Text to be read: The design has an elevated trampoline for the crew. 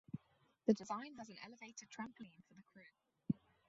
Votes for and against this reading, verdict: 2, 4, rejected